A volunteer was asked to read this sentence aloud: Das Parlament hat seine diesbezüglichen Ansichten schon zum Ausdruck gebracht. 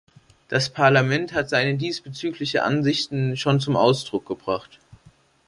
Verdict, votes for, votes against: rejected, 0, 3